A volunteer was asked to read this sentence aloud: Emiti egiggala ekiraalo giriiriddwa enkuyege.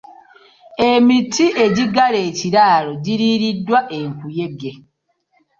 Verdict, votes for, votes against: accepted, 2, 0